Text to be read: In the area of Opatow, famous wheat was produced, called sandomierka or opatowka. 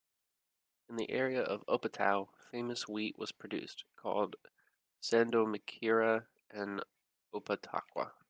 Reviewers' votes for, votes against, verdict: 0, 2, rejected